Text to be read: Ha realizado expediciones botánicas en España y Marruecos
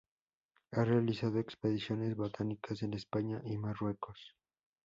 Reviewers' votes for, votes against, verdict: 2, 0, accepted